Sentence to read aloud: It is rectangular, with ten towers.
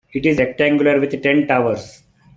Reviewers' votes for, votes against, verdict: 0, 2, rejected